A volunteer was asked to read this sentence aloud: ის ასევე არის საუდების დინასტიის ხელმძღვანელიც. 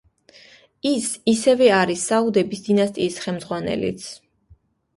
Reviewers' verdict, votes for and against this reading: rejected, 0, 2